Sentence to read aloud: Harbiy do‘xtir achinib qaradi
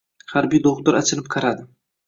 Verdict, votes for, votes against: accepted, 2, 1